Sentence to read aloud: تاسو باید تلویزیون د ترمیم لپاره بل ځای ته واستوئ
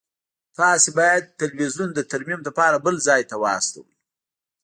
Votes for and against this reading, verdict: 2, 0, accepted